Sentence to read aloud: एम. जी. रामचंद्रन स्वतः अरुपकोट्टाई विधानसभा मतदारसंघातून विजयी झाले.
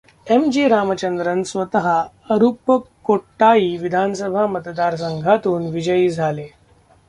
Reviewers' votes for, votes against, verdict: 0, 2, rejected